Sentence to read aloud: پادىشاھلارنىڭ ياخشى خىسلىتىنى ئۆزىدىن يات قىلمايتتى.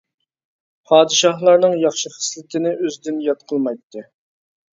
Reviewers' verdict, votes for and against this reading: accepted, 2, 0